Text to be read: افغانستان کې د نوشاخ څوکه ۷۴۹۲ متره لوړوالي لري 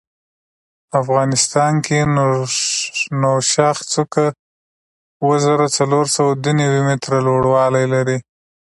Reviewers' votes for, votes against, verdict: 0, 2, rejected